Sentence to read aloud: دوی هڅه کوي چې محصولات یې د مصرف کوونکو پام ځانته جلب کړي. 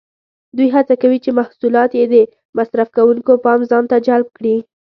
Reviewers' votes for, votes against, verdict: 2, 0, accepted